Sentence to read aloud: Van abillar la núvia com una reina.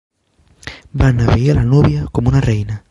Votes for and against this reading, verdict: 4, 1, accepted